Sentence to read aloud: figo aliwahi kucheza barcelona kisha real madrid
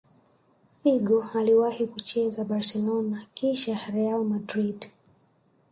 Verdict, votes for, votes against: accepted, 2, 0